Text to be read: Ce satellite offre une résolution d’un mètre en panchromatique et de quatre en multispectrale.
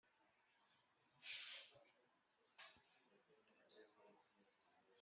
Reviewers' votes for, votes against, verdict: 0, 2, rejected